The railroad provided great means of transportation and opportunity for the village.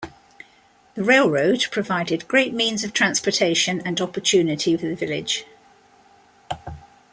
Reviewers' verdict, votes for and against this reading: accepted, 2, 0